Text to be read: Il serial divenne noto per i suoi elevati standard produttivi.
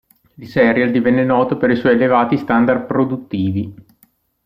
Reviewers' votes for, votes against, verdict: 2, 0, accepted